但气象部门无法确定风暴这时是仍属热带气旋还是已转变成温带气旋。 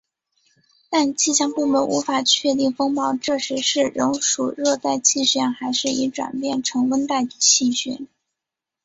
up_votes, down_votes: 2, 0